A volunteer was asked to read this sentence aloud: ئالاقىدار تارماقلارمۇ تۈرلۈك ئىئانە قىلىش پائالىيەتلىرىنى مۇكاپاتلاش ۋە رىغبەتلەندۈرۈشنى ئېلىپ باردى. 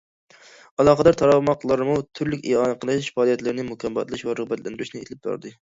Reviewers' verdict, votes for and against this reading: rejected, 1, 2